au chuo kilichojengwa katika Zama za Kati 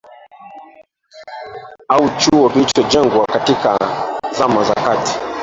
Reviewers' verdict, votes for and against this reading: rejected, 0, 2